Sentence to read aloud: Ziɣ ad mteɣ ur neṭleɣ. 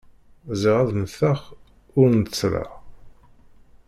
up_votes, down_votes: 0, 2